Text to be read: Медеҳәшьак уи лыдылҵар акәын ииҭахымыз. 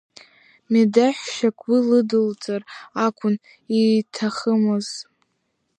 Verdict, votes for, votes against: accepted, 2, 0